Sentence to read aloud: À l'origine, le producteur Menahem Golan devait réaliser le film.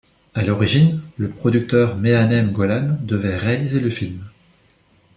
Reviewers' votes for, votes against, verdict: 2, 1, accepted